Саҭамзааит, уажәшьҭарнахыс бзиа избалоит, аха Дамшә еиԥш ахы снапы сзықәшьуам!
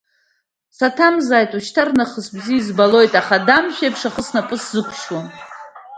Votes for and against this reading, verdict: 1, 2, rejected